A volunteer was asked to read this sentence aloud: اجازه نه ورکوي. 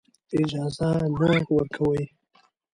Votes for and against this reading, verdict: 0, 2, rejected